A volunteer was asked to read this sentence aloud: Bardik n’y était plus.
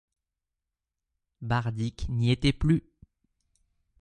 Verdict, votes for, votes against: accepted, 2, 0